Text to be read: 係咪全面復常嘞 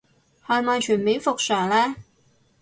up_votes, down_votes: 2, 2